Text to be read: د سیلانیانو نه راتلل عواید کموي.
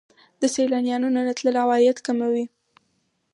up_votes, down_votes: 4, 2